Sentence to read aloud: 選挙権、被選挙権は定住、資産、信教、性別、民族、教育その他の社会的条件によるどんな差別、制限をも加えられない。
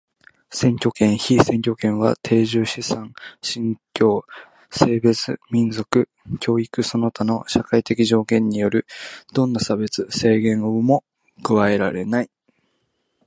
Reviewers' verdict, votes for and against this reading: rejected, 0, 2